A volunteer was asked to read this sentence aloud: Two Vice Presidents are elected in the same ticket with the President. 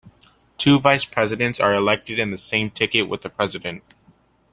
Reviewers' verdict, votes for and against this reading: accepted, 2, 0